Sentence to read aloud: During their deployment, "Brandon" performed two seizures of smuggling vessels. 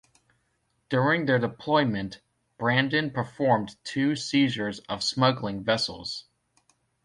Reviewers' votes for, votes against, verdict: 2, 0, accepted